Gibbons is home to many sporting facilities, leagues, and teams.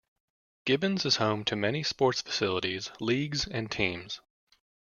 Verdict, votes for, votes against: rejected, 1, 2